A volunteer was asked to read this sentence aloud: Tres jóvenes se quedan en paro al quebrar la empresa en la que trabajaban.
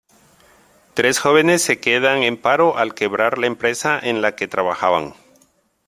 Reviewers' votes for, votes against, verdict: 2, 0, accepted